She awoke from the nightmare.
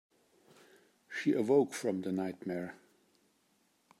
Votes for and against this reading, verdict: 2, 1, accepted